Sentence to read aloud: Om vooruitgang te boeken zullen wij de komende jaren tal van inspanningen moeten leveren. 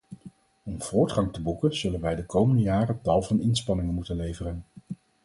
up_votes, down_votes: 0, 4